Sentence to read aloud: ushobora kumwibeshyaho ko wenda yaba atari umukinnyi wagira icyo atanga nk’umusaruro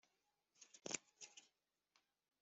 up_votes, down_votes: 1, 2